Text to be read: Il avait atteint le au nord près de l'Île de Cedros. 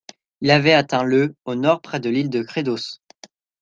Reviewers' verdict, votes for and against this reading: rejected, 0, 2